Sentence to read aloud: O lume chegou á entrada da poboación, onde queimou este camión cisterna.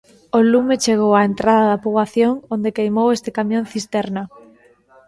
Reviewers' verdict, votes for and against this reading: accepted, 2, 0